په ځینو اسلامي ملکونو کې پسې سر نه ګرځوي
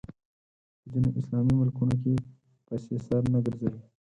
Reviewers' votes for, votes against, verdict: 4, 2, accepted